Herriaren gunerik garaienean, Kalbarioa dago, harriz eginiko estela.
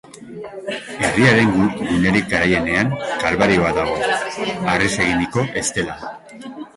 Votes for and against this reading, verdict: 1, 2, rejected